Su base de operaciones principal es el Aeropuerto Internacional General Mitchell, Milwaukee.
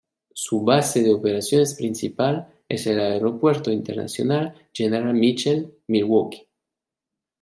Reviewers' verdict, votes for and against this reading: accepted, 2, 0